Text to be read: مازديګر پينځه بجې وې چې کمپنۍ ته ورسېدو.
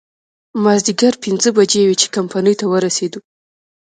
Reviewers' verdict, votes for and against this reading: rejected, 0, 2